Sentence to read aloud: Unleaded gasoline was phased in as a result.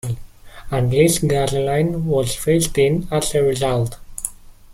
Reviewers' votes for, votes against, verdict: 0, 2, rejected